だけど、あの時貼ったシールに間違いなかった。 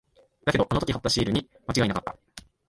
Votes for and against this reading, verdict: 0, 4, rejected